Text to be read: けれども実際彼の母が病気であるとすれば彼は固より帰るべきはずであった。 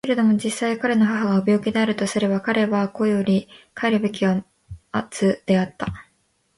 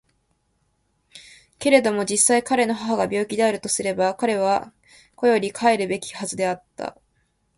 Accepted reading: second